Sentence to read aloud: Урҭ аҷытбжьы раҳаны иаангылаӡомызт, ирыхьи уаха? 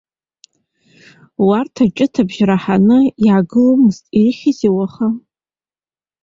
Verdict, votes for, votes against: rejected, 1, 2